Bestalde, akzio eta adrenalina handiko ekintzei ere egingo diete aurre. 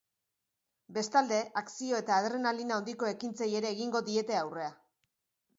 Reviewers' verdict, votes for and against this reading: rejected, 0, 2